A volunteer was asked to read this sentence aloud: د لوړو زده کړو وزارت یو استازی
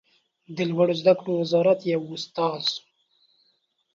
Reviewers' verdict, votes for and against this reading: rejected, 2, 3